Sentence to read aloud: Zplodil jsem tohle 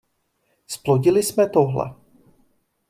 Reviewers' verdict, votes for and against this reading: rejected, 0, 2